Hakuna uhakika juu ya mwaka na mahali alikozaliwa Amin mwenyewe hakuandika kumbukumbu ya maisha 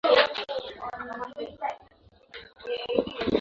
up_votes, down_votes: 0, 2